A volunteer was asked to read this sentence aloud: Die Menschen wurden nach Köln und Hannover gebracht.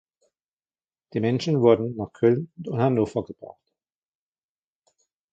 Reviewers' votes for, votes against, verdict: 2, 0, accepted